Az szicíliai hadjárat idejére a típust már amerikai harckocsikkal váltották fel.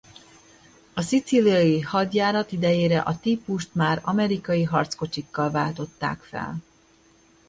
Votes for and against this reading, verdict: 1, 2, rejected